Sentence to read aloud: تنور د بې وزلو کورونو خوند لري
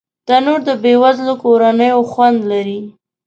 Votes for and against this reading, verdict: 1, 2, rejected